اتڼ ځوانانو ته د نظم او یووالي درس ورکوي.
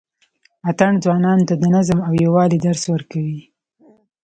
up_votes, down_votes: 2, 0